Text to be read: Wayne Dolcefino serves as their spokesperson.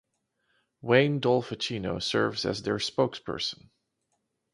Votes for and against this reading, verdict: 0, 4, rejected